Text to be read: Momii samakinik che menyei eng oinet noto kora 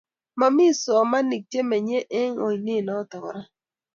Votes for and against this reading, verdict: 0, 2, rejected